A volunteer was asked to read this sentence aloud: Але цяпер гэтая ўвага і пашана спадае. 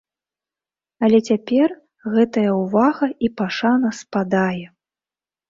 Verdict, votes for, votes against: accepted, 2, 0